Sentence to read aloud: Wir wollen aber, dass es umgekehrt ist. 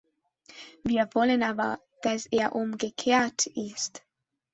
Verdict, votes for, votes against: rejected, 0, 2